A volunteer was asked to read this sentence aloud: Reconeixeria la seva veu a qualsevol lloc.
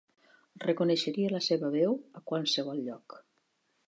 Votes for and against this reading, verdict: 3, 0, accepted